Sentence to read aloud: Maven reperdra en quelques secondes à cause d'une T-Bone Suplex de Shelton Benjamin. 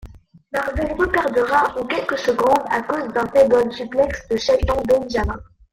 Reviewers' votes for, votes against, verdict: 0, 2, rejected